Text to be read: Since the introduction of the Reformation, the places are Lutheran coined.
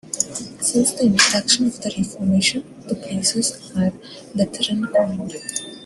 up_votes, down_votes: 2, 0